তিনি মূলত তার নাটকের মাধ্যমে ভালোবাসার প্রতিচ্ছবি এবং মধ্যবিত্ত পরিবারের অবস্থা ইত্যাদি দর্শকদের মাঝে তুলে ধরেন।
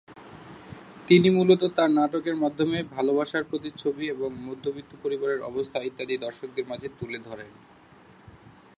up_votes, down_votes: 2, 0